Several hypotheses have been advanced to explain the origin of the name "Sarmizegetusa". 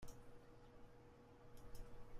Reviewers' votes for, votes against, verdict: 0, 2, rejected